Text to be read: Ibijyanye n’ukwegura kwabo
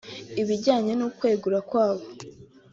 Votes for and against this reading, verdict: 2, 1, accepted